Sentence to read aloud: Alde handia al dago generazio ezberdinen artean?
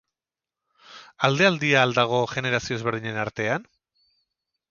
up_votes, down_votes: 4, 6